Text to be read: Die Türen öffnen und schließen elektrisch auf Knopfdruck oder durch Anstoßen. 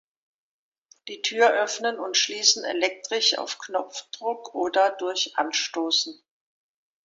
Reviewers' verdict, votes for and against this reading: rejected, 1, 2